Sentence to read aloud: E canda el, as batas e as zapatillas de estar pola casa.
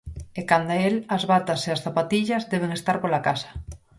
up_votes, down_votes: 0, 4